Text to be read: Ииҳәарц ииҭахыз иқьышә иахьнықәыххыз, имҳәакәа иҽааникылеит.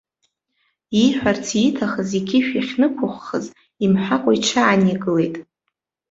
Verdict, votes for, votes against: accepted, 2, 0